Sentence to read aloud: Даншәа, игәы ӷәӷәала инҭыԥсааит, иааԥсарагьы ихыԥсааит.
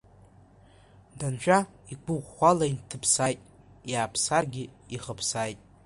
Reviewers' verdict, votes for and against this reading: rejected, 1, 2